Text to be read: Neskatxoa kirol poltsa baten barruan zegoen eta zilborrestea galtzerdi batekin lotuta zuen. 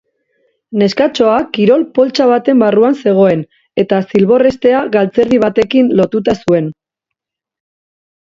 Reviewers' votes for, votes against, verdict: 2, 0, accepted